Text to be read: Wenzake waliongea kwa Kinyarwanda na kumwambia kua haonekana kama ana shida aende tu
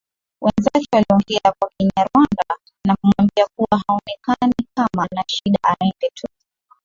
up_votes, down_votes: 3, 0